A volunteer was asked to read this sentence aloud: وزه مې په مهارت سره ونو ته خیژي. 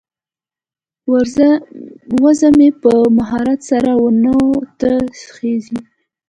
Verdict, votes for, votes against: rejected, 0, 2